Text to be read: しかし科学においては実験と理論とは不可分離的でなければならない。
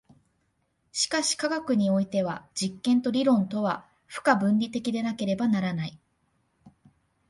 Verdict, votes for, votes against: accepted, 2, 0